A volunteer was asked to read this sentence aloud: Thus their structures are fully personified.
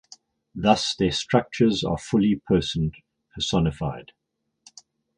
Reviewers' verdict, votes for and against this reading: rejected, 0, 4